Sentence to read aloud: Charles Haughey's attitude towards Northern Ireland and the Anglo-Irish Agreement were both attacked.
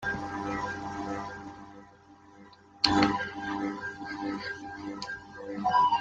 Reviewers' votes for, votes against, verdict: 0, 2, rejected